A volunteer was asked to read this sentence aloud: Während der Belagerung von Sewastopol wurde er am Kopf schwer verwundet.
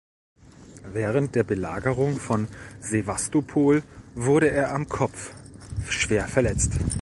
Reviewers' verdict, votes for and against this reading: rejected, 0, 2